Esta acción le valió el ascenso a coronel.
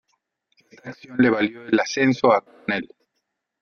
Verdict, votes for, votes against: rejected, 0, 2